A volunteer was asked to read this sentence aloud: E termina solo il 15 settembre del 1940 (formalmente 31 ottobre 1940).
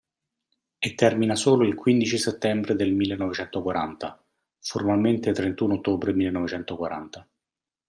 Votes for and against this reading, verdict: 0, 2, rejected